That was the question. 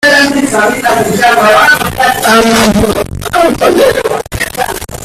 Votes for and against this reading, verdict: 0, 2, rejected